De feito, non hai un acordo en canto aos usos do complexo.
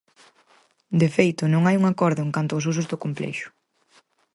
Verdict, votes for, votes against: accepted, 4, 0